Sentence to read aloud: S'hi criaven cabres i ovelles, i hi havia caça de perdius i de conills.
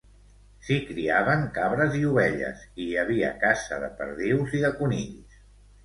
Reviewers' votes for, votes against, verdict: 2, 0, accepted